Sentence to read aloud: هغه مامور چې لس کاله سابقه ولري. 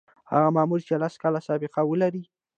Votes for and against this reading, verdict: 2, 0, accepted